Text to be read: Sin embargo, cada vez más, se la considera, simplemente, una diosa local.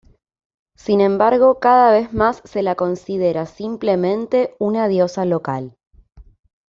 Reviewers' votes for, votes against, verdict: 2, 0, accepted